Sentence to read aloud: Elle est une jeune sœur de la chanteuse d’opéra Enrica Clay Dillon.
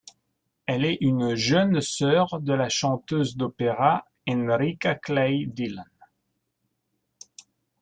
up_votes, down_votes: 2, 0